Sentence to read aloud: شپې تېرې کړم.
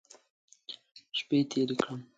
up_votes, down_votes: 2, 0